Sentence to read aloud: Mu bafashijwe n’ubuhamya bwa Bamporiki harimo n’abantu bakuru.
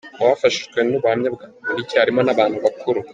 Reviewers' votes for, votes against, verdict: 2, 0, accepted